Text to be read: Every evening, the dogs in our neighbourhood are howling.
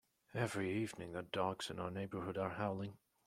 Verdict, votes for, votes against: accepted, 2, 1